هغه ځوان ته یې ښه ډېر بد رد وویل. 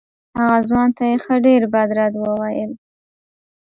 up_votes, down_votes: 0, 2